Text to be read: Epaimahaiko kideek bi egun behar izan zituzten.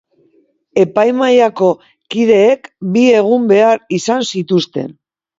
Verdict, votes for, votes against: rejected, 1, 2